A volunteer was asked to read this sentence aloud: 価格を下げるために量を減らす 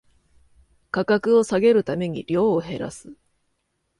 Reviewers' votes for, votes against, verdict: 2, 0, accepted